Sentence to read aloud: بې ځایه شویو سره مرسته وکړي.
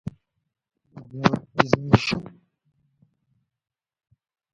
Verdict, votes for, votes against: rejected, 0, 2